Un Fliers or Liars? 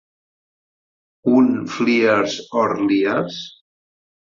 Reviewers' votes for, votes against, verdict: 6, 0, accepted